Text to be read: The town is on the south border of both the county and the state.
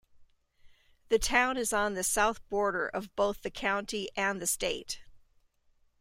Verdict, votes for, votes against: accepted, 2, 1